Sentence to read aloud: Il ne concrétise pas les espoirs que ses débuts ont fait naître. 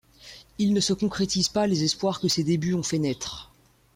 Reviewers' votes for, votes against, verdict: 1, 2, rejected